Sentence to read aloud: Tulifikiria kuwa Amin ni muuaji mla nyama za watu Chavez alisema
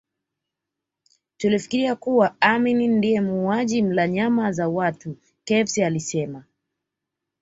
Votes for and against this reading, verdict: 2, 0, accepted